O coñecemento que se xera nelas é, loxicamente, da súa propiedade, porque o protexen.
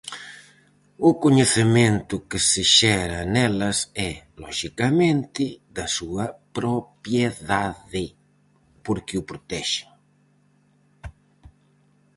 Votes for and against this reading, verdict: 0, 4, rejected